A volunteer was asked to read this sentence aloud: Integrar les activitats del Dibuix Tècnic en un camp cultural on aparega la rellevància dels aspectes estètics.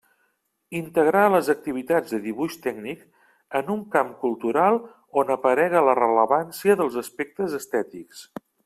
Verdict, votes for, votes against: rejected, 1, 2